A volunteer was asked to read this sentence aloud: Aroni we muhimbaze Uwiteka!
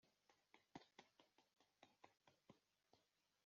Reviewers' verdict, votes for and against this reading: rejected, 0, 2